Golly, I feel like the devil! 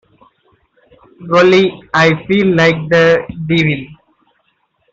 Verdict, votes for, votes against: rejected, 0, 2